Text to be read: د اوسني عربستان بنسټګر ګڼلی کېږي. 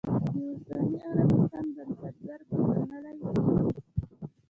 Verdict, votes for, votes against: rejected, 1, 2